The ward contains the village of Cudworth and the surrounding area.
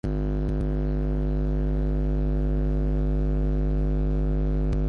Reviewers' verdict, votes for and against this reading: rejected, 0, 2